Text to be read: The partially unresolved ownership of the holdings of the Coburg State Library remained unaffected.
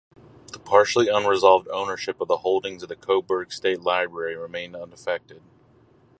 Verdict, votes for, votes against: accepted, 2, 0